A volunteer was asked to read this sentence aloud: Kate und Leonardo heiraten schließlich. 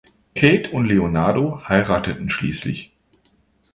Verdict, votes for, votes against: rejected, 0, 2